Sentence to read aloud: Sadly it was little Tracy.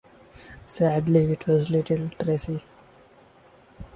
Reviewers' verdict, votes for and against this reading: rejected, 1, 2